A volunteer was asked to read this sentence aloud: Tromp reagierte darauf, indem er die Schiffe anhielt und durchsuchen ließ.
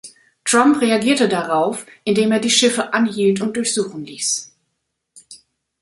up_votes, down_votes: 0, 2